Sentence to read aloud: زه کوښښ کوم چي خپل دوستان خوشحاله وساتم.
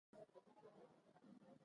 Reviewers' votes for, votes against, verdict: 1, 2, rejected